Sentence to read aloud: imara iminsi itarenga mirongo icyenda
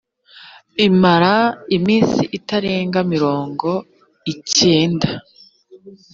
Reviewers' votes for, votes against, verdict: 3, 0, accepted